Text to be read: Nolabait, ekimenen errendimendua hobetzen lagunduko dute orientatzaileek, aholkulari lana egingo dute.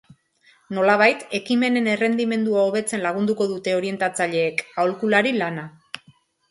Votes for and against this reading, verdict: 0, 3, rejected